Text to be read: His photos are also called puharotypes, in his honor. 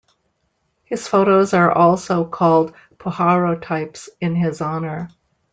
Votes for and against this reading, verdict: 2, 0, accepted